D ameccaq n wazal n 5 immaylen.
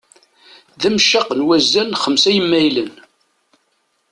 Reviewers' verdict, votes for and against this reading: rejected, 0, 2